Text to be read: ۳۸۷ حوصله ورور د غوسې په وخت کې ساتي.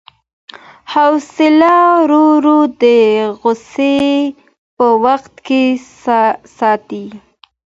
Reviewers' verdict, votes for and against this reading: rejected, 0, 2